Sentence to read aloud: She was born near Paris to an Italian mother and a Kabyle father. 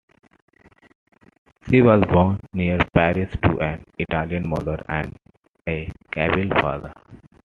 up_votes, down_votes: 2, 0